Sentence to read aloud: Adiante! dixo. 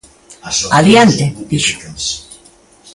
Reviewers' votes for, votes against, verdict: 1, 2, rejected